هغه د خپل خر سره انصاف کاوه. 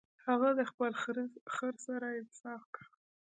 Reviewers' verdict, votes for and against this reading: rejected, 0, 2